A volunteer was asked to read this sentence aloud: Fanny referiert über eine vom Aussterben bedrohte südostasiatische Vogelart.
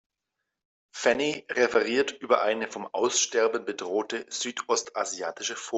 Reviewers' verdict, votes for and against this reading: rejected, 0, 2